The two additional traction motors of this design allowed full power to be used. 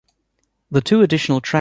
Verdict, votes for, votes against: rejected, 2, 3